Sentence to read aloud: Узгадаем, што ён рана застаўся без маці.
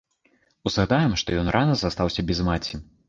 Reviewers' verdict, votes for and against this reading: rejected, 0, 2